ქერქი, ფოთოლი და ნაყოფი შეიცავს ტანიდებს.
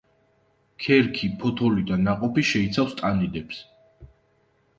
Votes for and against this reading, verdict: 2, 0, accepted